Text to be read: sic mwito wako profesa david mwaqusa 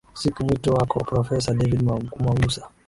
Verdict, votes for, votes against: rejected, 0, 2